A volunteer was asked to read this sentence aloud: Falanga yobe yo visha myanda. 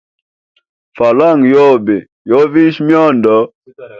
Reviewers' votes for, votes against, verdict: 2, 3, rejected